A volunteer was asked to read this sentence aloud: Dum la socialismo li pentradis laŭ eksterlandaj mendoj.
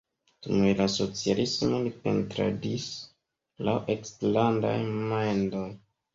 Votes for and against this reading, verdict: 1, 2, rejected